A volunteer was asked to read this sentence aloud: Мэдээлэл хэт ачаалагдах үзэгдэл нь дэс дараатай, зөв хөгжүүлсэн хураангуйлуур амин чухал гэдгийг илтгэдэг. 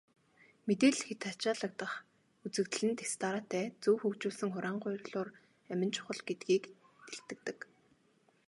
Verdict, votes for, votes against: rejected, 1, 2